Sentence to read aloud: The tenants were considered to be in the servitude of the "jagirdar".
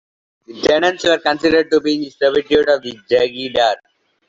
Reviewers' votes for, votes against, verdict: 0, 2, rejected